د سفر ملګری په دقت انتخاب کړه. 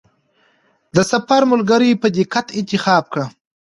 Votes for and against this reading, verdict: 2, 0, accepted